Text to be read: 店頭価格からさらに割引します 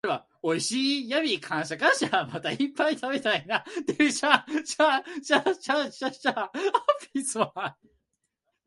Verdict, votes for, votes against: rejected, 1, 2